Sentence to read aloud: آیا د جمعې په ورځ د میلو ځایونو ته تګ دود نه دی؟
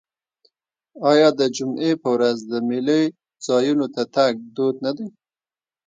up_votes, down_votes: 2, 0